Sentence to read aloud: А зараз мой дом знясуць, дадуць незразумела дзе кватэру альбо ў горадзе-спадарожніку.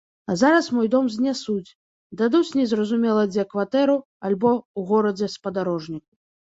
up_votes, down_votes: 0, 2